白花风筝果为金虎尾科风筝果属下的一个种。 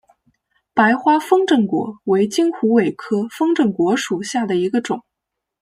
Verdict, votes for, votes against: rejected, 1, 2